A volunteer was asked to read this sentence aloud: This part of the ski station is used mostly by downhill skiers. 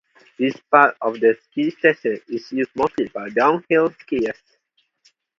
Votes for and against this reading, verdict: 0, 2, rejected